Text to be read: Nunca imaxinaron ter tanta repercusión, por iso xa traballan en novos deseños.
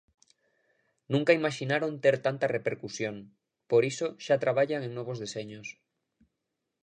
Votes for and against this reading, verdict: 2, 0, accepted